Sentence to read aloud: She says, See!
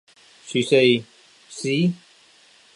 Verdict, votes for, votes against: accepted, 2, 1